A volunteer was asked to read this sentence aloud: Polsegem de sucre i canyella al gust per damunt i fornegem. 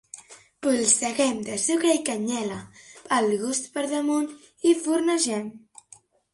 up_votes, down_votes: 2, 1